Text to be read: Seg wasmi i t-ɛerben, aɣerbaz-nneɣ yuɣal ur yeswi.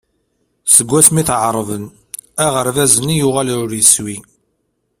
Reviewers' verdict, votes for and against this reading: rejected, 0, 2